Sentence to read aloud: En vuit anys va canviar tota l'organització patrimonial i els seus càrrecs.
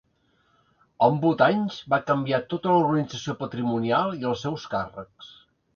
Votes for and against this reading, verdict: 0, 2, rejected